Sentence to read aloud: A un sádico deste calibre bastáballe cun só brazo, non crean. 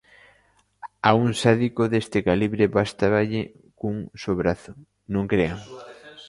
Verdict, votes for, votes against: rejected, 0, 2